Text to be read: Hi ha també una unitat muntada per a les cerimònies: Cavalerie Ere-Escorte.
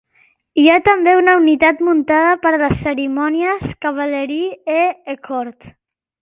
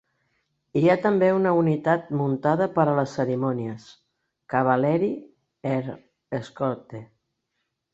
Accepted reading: second